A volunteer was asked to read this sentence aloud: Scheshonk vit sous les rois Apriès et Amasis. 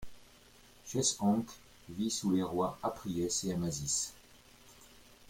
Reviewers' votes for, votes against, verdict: 1, 2, rejected